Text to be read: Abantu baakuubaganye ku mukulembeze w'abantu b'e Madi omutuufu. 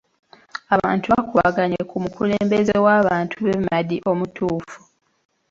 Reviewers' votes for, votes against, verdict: 1, 2, rejected